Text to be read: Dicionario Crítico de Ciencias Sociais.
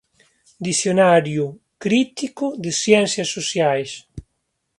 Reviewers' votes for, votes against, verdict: 2, 0, accepted